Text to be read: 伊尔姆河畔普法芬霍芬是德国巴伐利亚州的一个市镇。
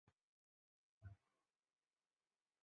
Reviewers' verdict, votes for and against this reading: rejected, 0, 2